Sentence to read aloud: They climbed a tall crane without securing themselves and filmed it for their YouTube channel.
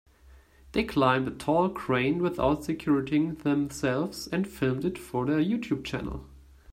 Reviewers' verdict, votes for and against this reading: rejected, 1, 2